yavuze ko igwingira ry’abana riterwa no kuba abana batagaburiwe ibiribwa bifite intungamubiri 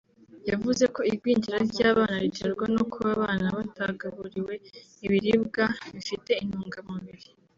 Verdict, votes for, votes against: accepted, 2, 0